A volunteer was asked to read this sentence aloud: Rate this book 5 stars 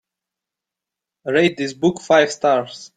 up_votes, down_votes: 0, 2